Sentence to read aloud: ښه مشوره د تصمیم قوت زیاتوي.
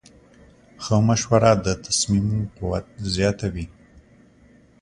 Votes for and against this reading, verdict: 2, 0, accepted